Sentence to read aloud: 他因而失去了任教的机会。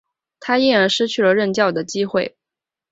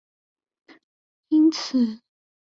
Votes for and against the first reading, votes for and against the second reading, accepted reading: 2, 0, 0, 2, first